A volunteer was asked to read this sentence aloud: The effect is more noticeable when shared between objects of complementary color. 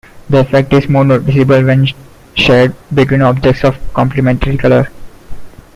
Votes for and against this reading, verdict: 0, 2, rejected